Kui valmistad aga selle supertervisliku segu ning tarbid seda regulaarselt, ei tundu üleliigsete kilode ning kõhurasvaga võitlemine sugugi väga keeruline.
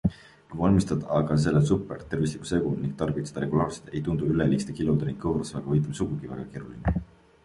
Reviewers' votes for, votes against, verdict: 2, 0, accepted